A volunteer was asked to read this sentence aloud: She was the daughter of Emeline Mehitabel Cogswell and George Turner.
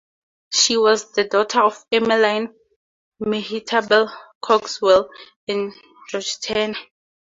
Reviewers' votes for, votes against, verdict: 2, 2, rejected